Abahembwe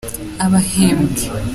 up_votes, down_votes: 2, 0